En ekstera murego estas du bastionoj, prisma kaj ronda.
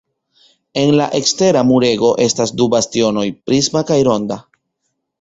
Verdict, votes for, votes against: accepted, 2, 0